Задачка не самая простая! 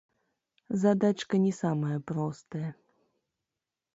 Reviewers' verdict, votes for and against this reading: rejected, 1, 2